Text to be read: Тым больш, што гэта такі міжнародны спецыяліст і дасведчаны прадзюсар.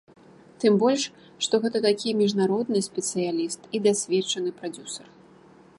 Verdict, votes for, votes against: accepted, 2, 0